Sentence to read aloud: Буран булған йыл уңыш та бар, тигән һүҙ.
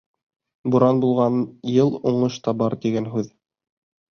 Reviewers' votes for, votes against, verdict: 3, 0, accepted